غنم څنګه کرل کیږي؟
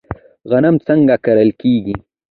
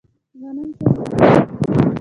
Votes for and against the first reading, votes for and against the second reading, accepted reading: 2, 1, 0, 2, first